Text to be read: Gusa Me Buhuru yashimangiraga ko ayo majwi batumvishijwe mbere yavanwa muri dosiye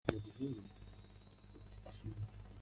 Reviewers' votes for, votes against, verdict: 0, 2, rejected